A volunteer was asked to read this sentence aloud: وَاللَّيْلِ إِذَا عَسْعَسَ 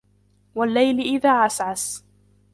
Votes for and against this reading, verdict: 2, 1, accepted